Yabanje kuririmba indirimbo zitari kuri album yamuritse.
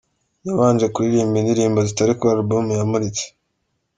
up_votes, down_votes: 2, 0